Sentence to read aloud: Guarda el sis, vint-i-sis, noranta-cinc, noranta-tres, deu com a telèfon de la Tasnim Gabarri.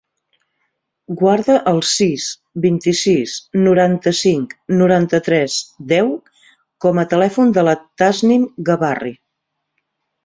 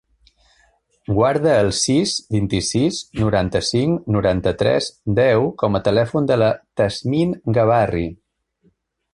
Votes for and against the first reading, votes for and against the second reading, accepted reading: 1, 2, 2, 0, second